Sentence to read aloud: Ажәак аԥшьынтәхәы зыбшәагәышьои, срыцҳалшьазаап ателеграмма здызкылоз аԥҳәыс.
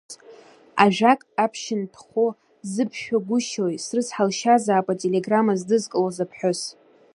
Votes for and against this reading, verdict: 2, 0, accepted